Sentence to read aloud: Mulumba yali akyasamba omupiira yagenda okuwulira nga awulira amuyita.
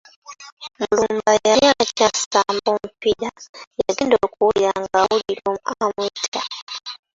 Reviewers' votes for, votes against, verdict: 0, 2, rejected